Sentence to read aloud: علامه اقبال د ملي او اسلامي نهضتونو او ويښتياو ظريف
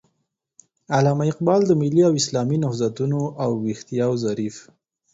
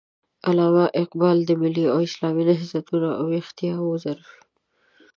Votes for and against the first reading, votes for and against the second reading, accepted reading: 4, 0, 1, 2, first